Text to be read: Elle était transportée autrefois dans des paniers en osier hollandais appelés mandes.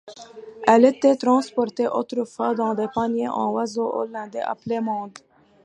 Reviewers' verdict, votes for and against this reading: rejected, 1, 2